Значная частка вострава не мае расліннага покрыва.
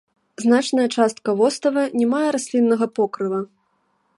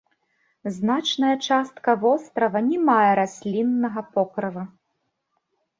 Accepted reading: second